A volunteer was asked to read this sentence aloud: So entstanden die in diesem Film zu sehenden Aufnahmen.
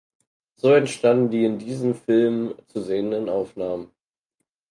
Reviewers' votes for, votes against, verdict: 4, 0, accepted